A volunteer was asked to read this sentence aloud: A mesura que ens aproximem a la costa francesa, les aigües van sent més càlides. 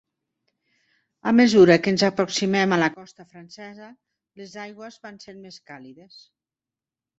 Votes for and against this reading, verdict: 0, 2, rejected